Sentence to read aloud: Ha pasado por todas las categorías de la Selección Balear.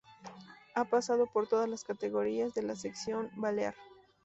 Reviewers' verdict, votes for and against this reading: rejected, 0, 2